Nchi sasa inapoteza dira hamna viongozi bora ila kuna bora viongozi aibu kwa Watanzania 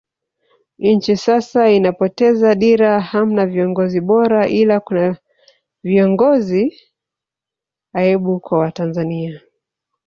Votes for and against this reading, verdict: 1, 2, rejected